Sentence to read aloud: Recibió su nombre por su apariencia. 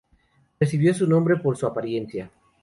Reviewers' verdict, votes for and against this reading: accepted, 2, 0